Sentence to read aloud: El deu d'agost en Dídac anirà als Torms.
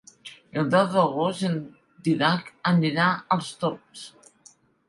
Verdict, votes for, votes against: rejected, 0, 2